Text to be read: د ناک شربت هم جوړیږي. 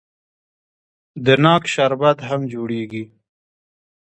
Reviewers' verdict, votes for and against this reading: rejected, 1, 2